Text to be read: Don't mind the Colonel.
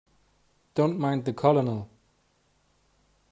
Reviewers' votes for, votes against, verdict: 3, 0, accepted